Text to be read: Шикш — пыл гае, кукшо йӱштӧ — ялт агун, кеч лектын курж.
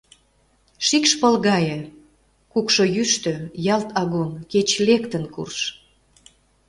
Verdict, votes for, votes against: accepted, 2, 0